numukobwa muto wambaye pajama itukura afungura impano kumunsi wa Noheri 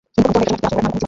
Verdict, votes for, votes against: rejected, 0, 2